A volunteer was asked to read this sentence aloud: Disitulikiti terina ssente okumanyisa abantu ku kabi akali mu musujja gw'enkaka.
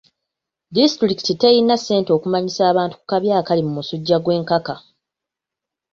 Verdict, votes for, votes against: rejected, 1, 2